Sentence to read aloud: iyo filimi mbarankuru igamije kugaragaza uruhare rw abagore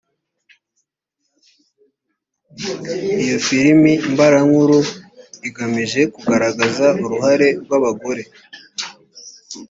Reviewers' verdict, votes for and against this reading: accepted, 3, 1